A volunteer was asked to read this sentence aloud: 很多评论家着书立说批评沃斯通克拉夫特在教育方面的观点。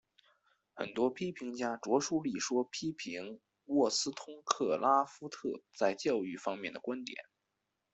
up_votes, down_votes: 0, 2